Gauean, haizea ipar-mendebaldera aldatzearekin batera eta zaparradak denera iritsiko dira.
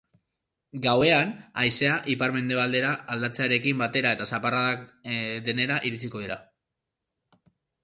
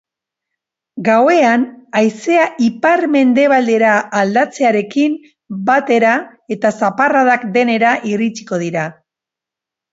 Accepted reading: second